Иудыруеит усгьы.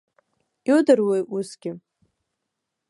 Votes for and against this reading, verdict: 0, 2, rejected